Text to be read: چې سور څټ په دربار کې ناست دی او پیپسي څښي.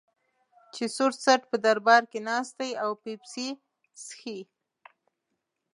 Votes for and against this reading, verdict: 2, 0, accepted